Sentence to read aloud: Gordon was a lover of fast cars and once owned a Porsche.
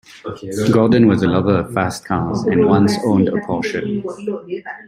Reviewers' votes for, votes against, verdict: 1, 2, rejected